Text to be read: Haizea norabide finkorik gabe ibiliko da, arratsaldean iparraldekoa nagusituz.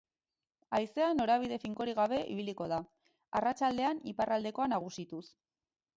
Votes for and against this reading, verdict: 2, 2, rejected